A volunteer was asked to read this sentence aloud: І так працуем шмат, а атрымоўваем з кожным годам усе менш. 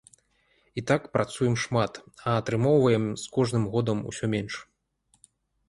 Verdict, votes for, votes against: accepted, 2, 0